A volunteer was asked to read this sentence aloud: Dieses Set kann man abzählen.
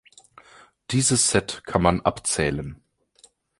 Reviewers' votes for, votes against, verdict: 3, 1, accepted